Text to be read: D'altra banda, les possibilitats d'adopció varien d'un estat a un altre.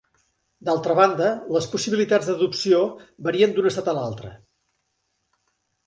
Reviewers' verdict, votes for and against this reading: rejected, 0, 2